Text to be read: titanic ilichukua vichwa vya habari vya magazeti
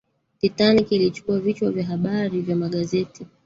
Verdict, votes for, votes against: accepted, 5, 2